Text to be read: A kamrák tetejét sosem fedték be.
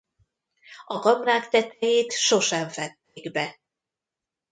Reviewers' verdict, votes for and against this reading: rejected, 0, 2